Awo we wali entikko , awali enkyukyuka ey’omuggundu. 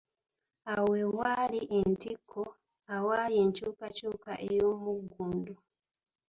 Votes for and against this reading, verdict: 1, 2, rejected